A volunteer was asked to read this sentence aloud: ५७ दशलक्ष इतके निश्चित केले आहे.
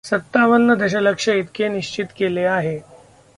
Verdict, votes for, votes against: rejected, 0, 2